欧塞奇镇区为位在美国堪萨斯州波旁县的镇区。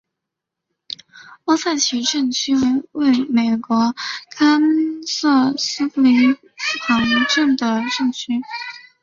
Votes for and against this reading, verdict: 2, 0, accepted